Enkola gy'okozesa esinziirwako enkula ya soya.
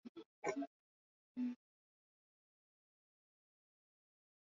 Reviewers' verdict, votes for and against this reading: rejected, 0, 2